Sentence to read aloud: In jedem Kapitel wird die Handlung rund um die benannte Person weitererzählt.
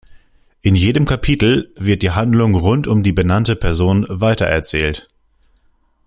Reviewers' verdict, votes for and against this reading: accepted, 2, 0